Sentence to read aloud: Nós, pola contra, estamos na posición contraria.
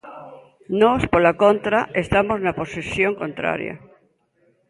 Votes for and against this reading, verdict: 2, 0, accepted